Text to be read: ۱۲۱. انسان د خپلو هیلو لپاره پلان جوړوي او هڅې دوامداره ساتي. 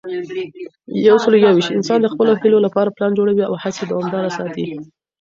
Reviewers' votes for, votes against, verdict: 0, 2, rejected